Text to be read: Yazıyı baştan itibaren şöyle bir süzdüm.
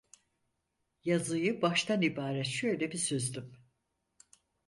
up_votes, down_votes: 0, 4